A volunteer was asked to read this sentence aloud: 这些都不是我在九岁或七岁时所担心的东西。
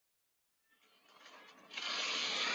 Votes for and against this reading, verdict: 0, 2, rejected